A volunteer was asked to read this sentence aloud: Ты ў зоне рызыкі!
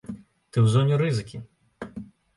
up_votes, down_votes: 2, 0